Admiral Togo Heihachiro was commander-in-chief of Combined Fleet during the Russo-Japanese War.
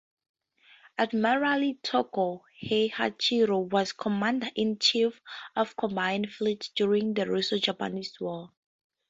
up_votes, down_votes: 4, 2